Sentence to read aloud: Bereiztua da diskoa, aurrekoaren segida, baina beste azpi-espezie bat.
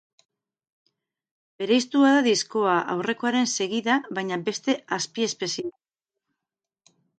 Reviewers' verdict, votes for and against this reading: rejected, 0, 2